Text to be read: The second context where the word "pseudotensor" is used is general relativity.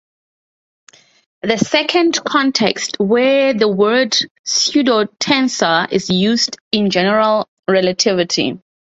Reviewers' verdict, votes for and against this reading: rejected, 0, 4